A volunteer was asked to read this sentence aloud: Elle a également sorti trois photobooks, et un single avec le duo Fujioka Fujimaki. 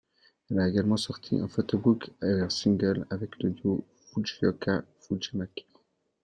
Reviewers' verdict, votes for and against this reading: rejected, 1, 2